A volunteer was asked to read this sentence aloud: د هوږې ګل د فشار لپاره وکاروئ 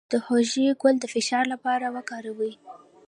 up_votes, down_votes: 2, 1